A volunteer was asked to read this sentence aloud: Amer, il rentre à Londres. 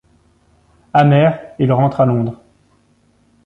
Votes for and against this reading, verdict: 2, 0, accepted